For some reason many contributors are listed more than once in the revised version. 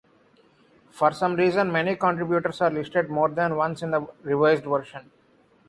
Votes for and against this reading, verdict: 2, 0, accepted